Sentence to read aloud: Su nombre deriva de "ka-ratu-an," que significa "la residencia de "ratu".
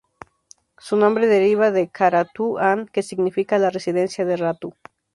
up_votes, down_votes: 2, 2